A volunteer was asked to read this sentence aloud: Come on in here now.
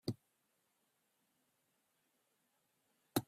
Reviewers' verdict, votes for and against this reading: rejected, 0, 2